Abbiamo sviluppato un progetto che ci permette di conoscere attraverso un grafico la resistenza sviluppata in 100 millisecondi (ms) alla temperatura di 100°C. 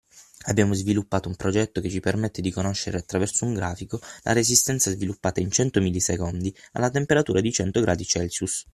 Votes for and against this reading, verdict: 0, 2, rejected